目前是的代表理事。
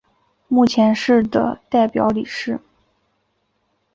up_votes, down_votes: 5, 0